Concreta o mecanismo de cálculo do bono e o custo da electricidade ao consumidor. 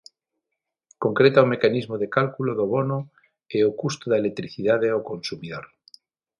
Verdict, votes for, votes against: accepted, 6, 0